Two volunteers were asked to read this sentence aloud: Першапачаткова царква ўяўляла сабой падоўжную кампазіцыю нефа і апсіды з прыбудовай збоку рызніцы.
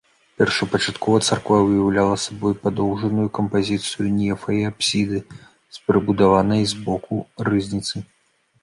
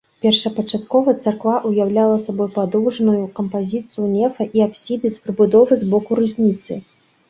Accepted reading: second